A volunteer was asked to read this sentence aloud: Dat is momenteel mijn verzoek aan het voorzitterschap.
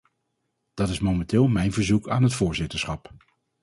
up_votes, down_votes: 4, 0